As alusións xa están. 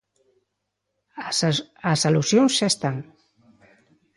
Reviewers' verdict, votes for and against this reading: rejected, 1, 2